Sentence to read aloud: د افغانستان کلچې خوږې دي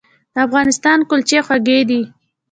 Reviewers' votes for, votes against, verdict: 1, 2, rejected